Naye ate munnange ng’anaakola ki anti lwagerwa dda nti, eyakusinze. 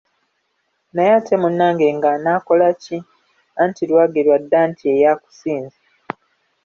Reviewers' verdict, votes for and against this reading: accepted, 2, 0